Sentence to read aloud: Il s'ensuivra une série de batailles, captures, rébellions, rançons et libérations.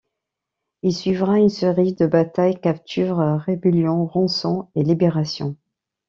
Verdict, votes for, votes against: rejected, 1, 2